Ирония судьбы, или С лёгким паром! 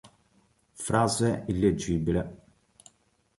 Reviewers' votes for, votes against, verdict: 0, 3, rejected